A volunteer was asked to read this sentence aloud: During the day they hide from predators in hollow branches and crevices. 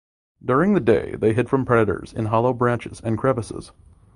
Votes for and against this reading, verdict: 0, 2, rejected